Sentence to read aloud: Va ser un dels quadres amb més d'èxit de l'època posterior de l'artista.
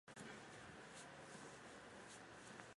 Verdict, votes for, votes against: rejected, 0, 2